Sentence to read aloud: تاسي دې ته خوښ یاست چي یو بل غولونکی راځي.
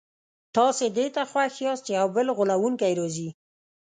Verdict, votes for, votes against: rejected, 1, 2